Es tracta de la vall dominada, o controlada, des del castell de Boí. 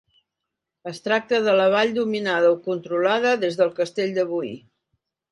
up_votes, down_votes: 2, 0